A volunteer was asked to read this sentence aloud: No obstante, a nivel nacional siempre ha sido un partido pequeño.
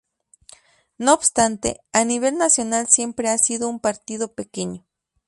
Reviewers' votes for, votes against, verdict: 2, 0, accepted